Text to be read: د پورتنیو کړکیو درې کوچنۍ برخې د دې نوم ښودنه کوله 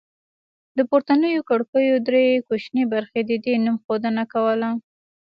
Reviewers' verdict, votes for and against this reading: accepted, 2, 0